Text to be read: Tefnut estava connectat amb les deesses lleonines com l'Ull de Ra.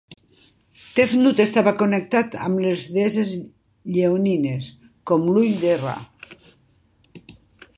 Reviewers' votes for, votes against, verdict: 1, 2, rejected